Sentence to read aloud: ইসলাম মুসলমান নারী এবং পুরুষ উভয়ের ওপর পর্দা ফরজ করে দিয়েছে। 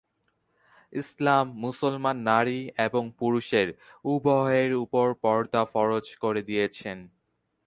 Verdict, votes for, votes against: rejected, 0, 4